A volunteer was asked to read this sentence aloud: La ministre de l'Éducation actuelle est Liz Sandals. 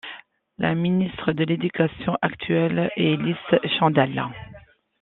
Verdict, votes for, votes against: accepted, 2, 0